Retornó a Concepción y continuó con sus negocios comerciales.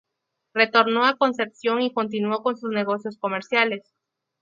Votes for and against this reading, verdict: 2, 0, accepted